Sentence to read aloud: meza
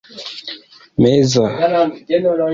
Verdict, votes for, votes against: rejected, 0, 2